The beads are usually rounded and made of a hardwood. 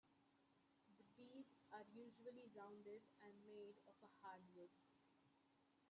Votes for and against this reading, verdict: 2, 1, accepted